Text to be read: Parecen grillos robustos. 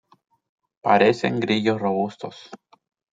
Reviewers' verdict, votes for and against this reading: accepted, 2, 0